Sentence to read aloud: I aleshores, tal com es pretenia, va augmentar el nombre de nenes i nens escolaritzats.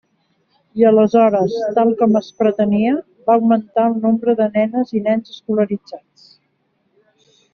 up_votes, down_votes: 4, 0